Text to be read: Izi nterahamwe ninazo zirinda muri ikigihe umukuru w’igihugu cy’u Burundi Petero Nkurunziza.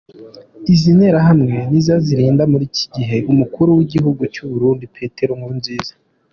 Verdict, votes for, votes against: accepted, 2, 1